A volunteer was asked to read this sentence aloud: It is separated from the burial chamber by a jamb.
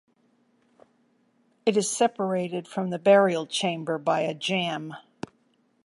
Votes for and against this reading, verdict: 2, 0, accepted